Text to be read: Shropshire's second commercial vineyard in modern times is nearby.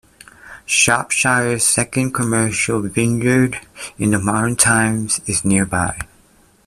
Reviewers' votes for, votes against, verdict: 0, 2, rejected